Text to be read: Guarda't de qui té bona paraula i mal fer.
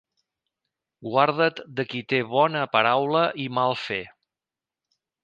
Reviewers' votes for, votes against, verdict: 2, 0, accepted